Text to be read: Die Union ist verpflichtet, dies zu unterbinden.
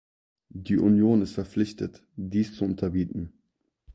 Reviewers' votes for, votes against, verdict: 0, 4, rejected